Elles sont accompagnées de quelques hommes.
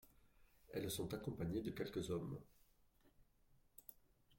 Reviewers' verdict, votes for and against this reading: rejected, 0, 2